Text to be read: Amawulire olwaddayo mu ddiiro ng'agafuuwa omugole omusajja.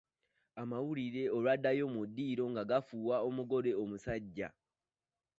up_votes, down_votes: 0, 2